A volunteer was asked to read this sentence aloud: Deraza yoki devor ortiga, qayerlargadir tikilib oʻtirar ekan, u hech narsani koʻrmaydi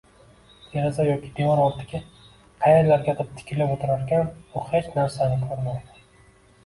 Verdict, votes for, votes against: rejected, 1, 2